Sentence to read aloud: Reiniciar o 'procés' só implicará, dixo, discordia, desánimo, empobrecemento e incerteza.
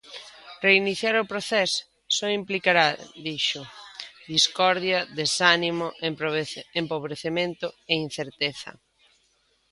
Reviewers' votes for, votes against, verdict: 0, 2, rejected